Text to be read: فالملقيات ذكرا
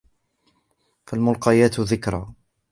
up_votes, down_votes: 1, 2